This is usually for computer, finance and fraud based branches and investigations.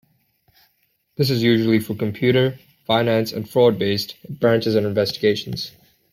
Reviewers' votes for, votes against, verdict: 2, 0, accepted